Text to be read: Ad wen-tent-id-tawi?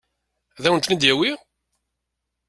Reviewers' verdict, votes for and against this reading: rejected, 1, 2